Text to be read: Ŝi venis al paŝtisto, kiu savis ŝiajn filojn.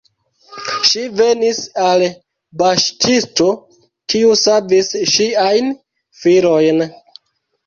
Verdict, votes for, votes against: rejected, 0, 2